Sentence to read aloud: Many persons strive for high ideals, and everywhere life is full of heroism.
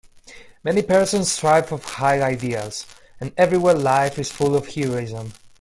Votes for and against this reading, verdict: 1, 2, rejected